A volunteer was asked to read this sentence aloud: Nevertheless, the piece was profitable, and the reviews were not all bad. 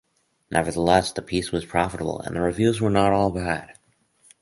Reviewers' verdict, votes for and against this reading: accepted, 4, 0